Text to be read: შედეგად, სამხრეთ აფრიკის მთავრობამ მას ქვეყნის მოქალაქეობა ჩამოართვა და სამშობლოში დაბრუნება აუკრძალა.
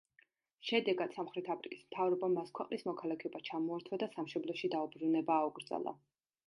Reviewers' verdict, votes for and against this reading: rejected, 0, 2